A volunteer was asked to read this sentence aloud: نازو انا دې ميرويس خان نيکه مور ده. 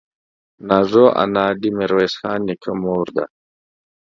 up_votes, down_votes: 2, 0